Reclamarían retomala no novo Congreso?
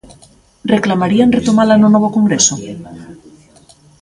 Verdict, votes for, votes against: accepted, 2, 0